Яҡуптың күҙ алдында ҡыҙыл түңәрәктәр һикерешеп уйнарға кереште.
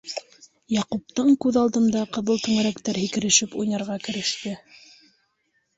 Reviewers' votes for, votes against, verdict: 2, 0, accepted